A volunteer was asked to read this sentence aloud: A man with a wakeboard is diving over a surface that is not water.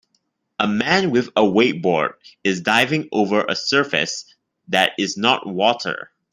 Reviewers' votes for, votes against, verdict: 1, 2, rejected